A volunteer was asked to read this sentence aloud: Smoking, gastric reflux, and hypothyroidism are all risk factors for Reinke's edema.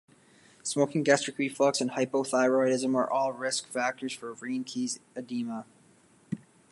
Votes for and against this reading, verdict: 2, 1, accepted